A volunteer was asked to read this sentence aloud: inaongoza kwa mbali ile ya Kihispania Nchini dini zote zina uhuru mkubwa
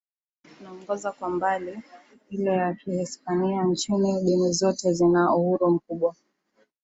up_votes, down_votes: 1, 2